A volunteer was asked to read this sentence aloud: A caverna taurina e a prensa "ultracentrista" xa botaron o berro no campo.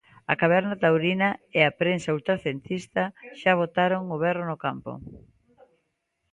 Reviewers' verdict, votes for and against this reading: rejected, 0, 2